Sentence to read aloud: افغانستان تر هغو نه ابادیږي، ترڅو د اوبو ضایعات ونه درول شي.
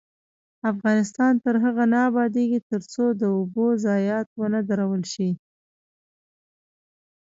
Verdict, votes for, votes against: rejected, 0, 2